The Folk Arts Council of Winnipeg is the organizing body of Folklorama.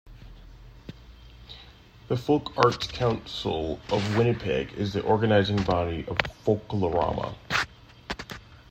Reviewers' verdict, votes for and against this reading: accepted, 2, 0